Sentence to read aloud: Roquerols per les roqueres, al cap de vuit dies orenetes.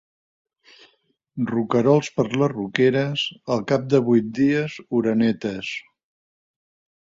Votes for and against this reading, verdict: 4, 0, accepted